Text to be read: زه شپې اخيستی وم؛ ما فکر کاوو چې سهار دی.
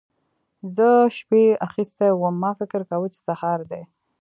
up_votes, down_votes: 2, 0